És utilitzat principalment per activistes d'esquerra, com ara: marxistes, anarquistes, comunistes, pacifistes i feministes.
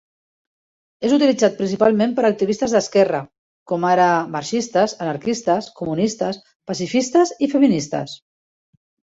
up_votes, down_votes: 3, 0